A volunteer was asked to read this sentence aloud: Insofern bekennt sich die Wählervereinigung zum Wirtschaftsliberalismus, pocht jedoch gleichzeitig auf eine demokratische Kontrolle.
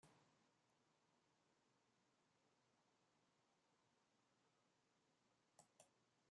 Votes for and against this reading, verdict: 0, 2, rejected